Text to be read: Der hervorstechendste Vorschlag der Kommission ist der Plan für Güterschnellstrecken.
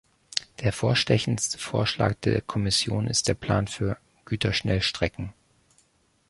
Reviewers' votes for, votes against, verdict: 1, 2, rejected